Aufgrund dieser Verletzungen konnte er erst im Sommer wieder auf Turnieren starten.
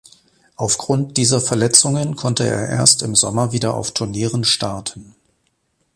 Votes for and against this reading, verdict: 2, 0, accepted